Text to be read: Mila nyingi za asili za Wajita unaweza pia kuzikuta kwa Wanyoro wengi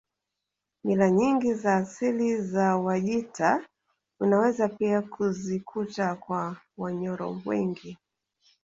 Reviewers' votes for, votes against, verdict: 2, 0, accepted